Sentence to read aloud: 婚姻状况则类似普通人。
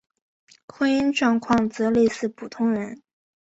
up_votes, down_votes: 2, 0